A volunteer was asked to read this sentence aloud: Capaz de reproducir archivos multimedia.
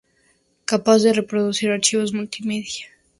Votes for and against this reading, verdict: 2, 0, accepted